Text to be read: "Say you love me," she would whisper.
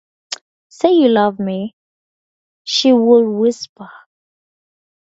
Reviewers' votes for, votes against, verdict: 4, 2, accepted